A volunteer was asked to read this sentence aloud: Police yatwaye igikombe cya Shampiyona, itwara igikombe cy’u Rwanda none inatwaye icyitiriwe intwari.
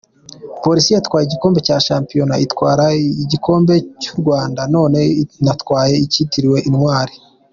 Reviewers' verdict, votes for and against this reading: accepted, 2, 0